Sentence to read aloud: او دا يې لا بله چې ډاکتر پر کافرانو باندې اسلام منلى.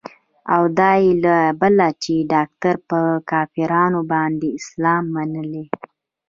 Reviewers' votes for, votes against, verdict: 0, 2, rejected